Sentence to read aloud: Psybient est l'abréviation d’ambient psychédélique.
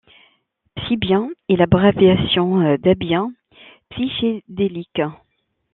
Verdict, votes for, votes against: rejected, 1, 2